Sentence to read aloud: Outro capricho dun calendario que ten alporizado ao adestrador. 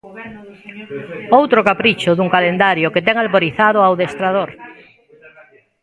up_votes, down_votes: 0, 2